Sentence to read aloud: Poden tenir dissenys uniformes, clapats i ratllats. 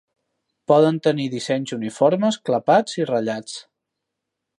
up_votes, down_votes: 3, 1